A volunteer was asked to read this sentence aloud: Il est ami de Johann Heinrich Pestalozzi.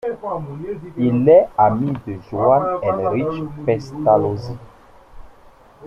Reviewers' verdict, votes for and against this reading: rejected, 0, 2